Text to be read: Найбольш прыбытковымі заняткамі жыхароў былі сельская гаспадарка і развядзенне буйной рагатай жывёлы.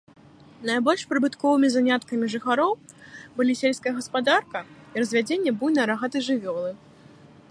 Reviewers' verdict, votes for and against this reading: rejected, 1, 2